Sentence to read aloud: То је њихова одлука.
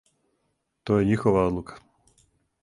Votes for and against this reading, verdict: 4, 0, accepted